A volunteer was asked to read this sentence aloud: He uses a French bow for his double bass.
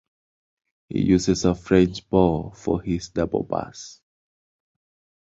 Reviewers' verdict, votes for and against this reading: rejected, 0, 2